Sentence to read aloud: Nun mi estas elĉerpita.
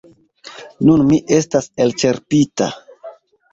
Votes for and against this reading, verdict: 2, 0, accepted